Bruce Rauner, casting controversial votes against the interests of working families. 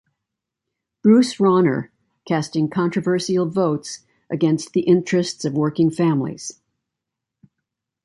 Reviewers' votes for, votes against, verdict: 2, 0, accepted